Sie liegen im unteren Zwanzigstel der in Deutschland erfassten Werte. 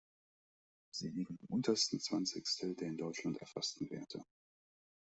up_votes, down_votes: 1, 2